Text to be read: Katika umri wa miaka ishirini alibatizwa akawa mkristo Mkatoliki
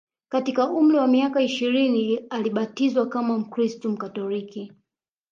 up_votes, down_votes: 1, 2